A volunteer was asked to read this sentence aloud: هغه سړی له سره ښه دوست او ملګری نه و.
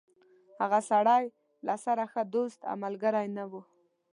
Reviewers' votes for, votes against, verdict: 2, 0, accepted